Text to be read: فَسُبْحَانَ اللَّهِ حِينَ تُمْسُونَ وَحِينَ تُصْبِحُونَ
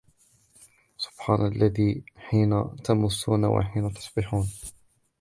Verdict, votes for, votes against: rejected, 0, 2